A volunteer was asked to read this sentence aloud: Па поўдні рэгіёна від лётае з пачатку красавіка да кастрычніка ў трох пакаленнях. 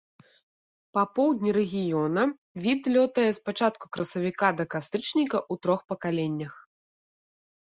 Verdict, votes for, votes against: accepted, 2, 0